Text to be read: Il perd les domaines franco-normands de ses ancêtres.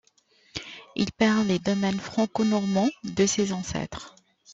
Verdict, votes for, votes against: accepted, 2, 0